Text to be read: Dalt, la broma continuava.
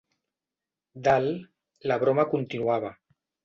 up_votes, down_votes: 2, 0